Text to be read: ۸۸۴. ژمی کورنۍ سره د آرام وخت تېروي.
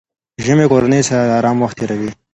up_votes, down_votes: 0, 2